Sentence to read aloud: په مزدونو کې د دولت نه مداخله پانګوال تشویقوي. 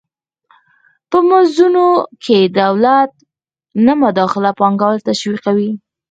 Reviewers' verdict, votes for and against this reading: accepted, 4, 0